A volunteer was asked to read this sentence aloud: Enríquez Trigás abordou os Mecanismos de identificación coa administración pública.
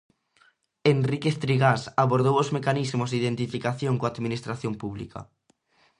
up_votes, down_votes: 2, 0